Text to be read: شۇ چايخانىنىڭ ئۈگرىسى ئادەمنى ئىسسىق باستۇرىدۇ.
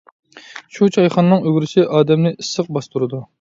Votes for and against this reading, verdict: 2, 0, accepted